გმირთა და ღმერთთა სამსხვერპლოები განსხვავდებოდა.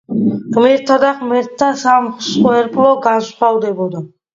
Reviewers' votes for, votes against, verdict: 0, 2, rejected